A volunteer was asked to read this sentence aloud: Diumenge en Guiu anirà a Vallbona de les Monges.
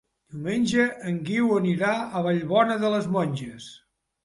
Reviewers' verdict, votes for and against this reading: rejected, 1, 2